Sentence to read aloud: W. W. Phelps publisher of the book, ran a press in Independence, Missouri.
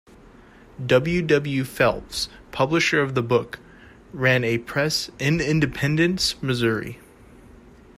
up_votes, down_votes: 2, 0